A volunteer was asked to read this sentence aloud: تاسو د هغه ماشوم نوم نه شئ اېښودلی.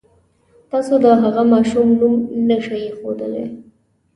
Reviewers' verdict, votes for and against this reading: accepted, 2, 1